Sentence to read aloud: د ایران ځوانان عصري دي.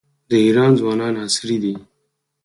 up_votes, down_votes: 4, 0